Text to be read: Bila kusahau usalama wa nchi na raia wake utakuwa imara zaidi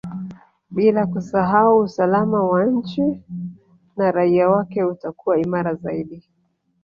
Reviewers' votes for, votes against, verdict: 1, 2, rejected